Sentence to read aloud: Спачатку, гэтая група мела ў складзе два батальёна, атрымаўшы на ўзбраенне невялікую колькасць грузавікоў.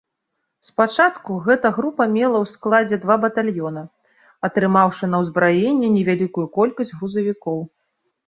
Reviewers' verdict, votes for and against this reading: accepted, 2, 1